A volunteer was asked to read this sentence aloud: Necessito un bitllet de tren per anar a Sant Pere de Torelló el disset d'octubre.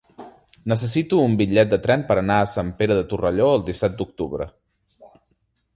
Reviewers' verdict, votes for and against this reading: rejected, 0, 2